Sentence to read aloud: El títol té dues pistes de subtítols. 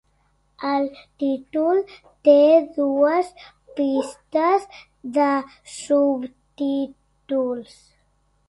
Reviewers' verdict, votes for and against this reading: accepted, 2, 0